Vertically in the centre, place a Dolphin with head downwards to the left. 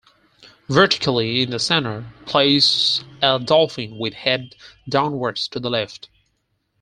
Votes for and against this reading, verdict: 4, 0, accepted